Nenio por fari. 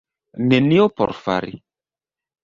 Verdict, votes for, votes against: accepted, 3, 1